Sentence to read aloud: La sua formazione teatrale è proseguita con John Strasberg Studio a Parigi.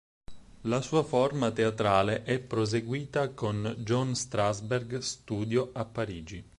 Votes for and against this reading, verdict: 2, 4, rejected